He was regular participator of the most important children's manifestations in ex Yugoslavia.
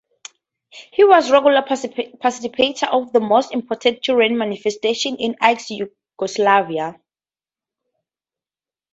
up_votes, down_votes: 0, 4